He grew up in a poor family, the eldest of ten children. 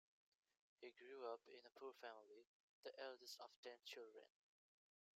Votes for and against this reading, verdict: 2, 0, accepted